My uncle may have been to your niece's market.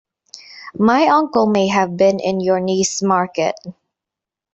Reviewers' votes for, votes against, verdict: 1, 2, rejected